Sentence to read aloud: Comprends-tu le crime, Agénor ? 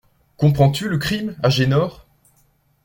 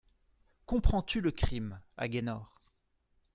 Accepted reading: first